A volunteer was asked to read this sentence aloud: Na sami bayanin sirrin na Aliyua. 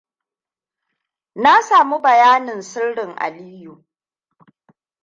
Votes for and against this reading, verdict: 1, 2, rejected